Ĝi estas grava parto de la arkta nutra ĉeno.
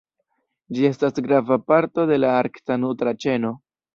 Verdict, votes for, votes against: rejected, 1, 2